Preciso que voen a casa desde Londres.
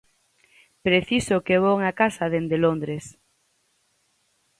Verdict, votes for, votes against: rejected, 0, 4